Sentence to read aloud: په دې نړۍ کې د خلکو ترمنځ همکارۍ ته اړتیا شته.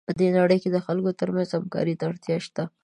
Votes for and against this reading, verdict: 2, 0, accepted